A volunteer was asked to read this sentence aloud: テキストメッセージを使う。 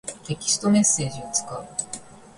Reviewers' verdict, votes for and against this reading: accepted, 3, 0